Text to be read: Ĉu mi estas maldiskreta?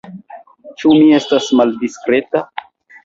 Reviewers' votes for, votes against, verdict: 2, 0, accepted